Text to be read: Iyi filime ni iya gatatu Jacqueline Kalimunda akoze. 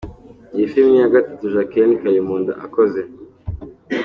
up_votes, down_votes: 2, 0